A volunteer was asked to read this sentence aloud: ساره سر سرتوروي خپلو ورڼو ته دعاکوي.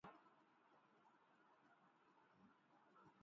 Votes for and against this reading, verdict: 0, 2, rejected